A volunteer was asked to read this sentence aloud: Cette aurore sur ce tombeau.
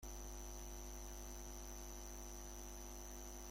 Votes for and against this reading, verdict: 0, 2, rejected